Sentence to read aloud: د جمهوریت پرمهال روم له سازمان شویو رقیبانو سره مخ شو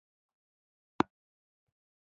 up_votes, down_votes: 0, 2